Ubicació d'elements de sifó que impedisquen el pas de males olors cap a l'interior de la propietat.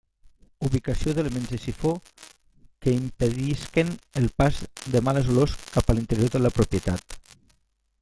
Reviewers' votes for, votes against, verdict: 1, 2, rejected